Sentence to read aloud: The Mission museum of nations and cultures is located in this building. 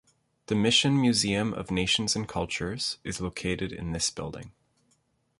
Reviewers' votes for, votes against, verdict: 2, 0, accepted